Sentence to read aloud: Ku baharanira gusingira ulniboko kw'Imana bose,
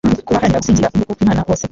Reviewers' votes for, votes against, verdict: 1, 2, rejected